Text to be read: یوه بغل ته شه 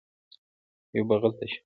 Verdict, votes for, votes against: accepted, 2, 1